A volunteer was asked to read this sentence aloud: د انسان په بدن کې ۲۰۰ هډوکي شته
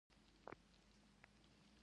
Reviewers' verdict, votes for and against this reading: rejected, 0, 2